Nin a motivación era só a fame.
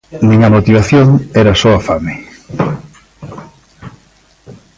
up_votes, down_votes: 0, 2